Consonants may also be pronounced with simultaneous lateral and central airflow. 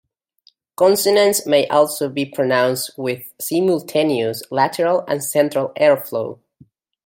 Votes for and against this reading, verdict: 2, 1, accepted